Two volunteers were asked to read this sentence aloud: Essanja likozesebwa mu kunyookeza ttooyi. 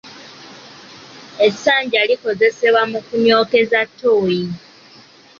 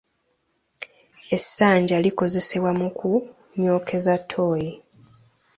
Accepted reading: first